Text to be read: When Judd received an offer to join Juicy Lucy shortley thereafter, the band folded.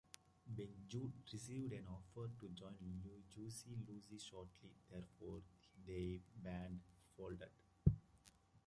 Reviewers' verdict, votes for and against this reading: rejected, 0, 2